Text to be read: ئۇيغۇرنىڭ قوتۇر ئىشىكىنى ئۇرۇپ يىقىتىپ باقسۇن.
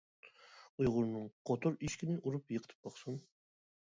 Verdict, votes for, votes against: accepted, 2, 0